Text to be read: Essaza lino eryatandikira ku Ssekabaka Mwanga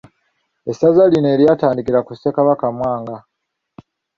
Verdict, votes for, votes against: accepted, 2, 0